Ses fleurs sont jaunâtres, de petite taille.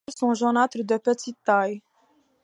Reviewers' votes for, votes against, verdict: 1, 2, rejected